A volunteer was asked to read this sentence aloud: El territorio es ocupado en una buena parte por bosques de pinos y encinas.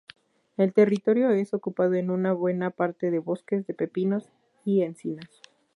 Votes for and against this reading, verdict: 2, 2, rejected